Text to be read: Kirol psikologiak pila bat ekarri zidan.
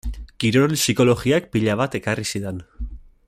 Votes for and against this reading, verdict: 0, 2, rejected